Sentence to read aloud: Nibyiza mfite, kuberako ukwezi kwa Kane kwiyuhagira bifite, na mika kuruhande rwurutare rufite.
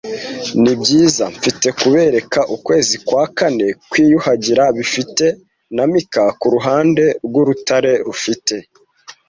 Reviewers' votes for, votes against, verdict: 1, 2, rejected